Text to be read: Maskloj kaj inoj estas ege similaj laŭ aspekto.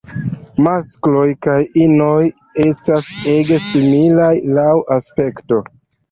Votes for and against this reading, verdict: 0, 2, rejected